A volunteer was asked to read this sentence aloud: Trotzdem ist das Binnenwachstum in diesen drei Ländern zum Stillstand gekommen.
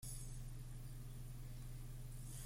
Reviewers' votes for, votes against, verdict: 0, 2, rejected